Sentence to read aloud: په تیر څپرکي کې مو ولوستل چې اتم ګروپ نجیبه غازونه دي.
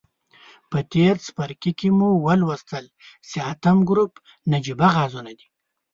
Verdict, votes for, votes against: rejected, 0, 2